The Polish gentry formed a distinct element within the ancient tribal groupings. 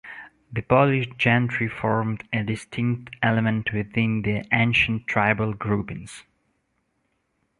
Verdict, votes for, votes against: accepted, 2, 0